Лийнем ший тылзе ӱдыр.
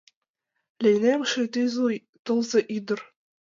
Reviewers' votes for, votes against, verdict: 1, 2, rejected